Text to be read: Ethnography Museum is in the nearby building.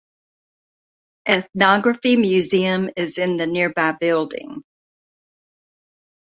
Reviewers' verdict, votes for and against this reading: accepted, 2, 0